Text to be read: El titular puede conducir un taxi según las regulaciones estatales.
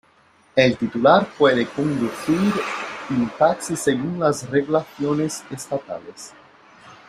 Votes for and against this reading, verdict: 2, 0, accepted